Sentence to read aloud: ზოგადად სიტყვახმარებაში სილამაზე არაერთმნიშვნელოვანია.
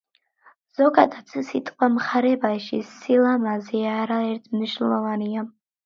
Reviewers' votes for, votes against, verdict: 0, 2, rejected